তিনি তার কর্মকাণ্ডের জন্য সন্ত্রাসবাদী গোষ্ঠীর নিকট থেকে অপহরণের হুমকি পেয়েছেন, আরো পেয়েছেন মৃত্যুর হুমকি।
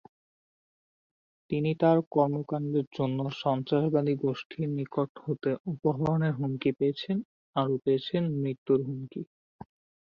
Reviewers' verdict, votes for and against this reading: accepted, 5, 0